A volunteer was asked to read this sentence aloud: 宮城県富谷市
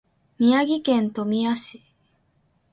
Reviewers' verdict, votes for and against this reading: accepted, 2, 0